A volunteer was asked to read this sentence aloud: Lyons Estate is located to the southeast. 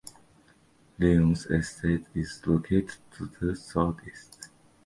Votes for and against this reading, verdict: 3, 1, accepted